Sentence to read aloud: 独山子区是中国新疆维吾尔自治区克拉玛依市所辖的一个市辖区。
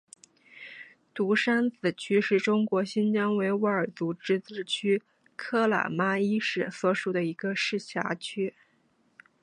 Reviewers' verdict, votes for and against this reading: rejected, 2, 3